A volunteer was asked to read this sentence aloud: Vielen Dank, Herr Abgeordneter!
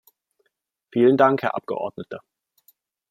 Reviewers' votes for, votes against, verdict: 3, 0, accepted